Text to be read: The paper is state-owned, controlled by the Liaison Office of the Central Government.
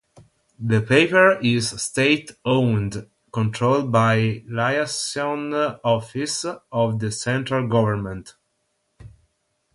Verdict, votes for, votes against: rejected, 0, 3